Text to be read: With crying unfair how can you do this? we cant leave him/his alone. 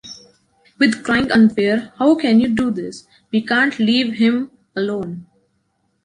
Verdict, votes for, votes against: rejected, 0, 2